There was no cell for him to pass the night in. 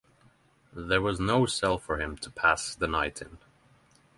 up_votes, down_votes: 3, 0